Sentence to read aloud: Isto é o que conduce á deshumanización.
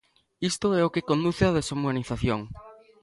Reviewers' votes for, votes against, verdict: 2, 0, accepted